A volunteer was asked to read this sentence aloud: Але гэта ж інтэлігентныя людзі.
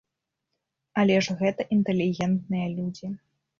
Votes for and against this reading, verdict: 0, 2, rejected